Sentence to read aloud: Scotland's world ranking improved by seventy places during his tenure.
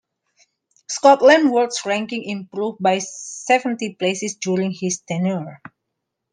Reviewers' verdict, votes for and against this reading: rejected, 1, 2